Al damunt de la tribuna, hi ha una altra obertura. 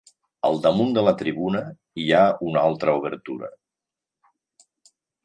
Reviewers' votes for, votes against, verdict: 4, 0, accepted